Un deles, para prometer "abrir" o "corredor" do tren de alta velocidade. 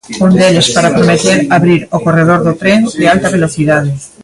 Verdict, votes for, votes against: rejected, 2, 3